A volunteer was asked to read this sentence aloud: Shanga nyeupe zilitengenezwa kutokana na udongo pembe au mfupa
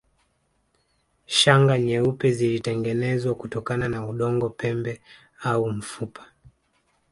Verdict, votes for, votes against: rejected, 1, 2